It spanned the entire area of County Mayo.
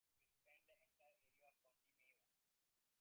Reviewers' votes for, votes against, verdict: 1, 2, rejected